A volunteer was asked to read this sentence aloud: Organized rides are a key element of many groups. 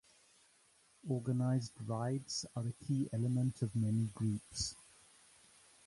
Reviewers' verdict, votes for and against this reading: accepted, 2, 0